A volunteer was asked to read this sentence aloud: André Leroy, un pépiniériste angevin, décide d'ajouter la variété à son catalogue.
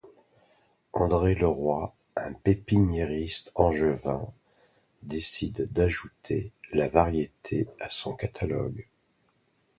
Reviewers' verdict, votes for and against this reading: accepted, 3, 1